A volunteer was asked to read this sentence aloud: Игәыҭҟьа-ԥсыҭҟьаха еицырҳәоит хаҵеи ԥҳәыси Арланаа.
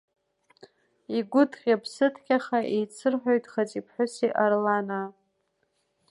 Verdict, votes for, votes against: rejected, 1, 2